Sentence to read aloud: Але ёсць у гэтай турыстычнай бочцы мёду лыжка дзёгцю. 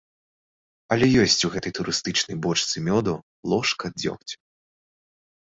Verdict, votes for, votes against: rejected, 0, 2